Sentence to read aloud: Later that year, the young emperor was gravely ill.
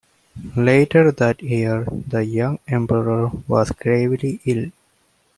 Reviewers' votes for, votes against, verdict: 2, 0, accepted